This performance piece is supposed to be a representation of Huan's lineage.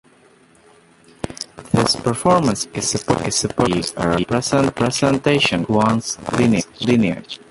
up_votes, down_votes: 0, 2